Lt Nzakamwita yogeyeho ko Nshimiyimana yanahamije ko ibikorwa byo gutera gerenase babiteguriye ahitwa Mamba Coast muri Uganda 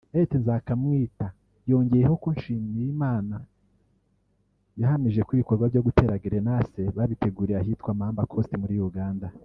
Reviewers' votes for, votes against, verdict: 0, 2, rejected